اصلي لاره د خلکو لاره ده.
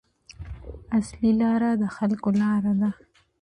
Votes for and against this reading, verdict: 2, 0, accepted